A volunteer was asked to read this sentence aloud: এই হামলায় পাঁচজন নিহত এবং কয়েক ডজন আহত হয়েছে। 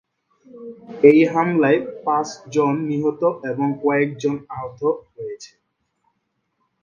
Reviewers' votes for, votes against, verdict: 1, 3, rejected